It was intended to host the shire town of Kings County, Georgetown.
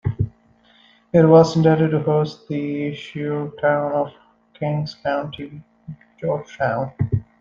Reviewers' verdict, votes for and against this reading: rejected, 1, 2